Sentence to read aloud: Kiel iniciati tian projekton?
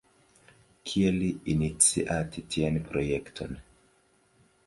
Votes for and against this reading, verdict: 0, 2, rejected